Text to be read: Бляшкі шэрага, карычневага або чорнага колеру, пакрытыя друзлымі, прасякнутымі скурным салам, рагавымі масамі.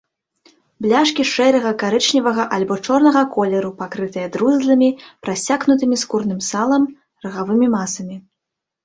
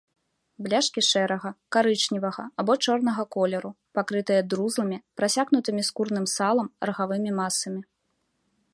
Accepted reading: second